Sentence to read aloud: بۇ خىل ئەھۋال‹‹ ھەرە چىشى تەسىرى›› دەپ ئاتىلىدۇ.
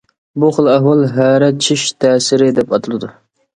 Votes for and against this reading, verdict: 1, 2, rejected